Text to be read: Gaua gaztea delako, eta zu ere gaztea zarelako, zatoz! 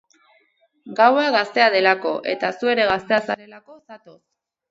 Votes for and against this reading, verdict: 2, 4, rejected